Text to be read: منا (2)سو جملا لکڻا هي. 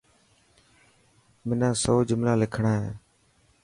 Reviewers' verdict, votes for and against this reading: rejected, 0, 2